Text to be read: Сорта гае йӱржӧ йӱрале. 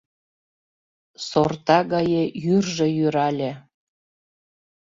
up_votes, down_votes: 2, 0